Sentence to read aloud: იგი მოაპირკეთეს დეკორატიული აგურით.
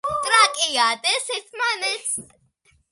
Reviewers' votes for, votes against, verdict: 0, 2, rejected